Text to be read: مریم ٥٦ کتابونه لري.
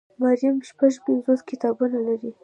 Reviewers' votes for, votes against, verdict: 0, 2, rejected